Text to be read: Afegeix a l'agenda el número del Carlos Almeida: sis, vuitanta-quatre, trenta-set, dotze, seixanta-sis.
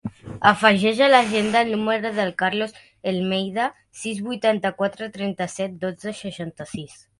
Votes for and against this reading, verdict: 0, 2, rejected